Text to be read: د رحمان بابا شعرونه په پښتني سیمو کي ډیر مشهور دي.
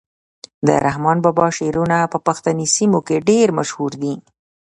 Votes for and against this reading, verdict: 2, 0, accepted